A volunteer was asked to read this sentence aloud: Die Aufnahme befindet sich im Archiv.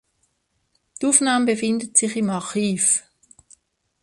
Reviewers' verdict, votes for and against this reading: rejected, 1, 2